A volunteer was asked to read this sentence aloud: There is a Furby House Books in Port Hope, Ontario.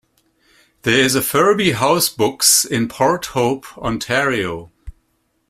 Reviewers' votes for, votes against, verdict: 2, 0, accepted